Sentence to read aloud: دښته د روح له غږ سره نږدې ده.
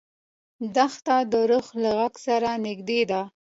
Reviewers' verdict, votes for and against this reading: accepted, 2, 0